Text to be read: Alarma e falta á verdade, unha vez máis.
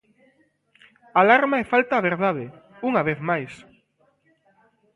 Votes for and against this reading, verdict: 2, 0, accepted